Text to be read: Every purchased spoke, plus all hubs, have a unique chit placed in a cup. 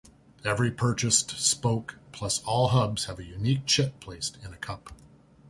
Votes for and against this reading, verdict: 2, 0, accepted